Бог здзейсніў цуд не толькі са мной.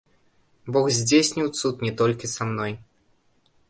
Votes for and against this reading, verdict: 1, 2, rejected